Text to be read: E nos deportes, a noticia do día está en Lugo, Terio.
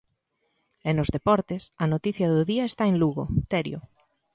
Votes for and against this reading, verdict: 2, 0, accepted